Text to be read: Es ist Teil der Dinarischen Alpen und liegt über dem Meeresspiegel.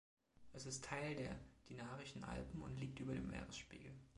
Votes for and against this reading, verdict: 2, 1, accepted